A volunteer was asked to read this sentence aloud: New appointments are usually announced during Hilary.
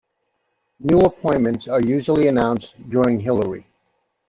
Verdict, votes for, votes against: accepted, 2, 0